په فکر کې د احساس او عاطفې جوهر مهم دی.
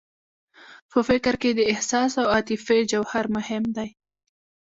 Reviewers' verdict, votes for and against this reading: rejected, 0, 2